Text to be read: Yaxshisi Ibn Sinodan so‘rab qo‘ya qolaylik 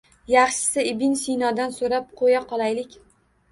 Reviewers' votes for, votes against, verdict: 1, 2, rejected